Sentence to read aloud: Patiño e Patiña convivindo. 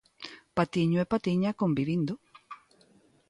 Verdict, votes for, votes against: accepted, 2, 0